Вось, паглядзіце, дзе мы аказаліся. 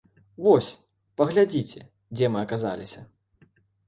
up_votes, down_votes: 2, 0